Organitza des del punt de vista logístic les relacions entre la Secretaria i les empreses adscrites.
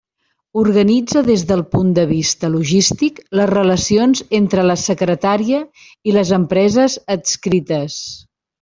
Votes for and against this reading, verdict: 1, 2, rejected